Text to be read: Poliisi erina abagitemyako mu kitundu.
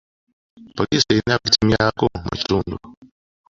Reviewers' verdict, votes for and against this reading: rejected, 0, 2